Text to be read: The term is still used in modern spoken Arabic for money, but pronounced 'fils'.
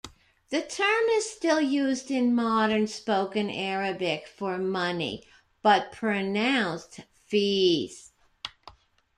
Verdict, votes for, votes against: rejected, 0, 2